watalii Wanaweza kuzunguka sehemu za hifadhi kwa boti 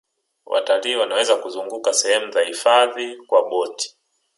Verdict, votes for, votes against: accepted, 3, 1